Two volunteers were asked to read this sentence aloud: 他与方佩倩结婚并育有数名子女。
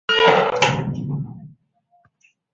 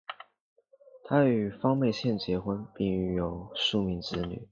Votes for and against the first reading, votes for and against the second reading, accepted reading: 0, 2, 2, 0, second